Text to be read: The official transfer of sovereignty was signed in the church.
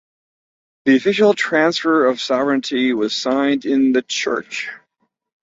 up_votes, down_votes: 4, 0